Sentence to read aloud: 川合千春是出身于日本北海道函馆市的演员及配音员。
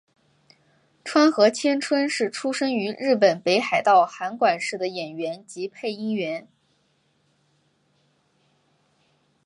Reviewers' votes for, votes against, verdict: 2, 1, accepted